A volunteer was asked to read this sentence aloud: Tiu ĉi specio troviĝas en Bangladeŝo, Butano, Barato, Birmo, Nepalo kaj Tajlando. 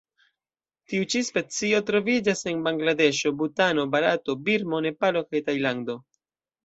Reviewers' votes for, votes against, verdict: 2, 0, accepted